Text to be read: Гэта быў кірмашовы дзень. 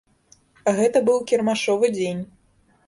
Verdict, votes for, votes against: accepted, 2, 0